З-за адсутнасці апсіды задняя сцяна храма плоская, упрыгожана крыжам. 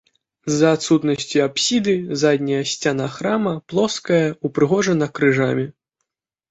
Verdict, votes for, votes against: rejected, 1, 3